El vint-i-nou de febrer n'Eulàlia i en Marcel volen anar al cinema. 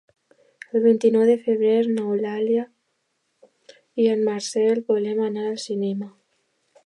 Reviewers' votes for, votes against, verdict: 2, 0, accepted